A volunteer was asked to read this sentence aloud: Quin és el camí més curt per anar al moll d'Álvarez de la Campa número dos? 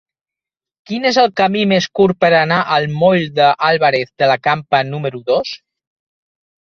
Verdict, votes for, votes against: rejected, 0, 2